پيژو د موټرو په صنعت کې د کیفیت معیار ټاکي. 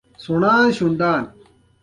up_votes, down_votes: 2, 1